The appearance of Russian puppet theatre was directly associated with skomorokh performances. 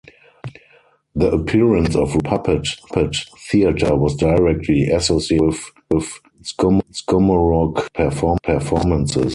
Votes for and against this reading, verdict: 0, 4, rejected